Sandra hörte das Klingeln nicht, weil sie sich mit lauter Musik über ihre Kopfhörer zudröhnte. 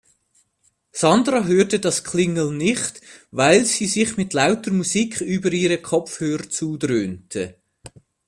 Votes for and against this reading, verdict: 2, 0, accepted